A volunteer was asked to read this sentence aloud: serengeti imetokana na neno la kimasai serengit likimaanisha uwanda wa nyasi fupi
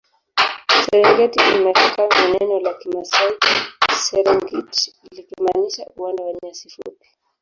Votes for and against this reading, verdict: 0, 3, rejected